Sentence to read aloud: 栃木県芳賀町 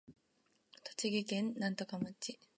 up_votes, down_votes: 2, 1